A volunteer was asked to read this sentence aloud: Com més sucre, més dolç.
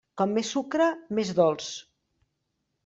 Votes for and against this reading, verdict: 3, 0, accepted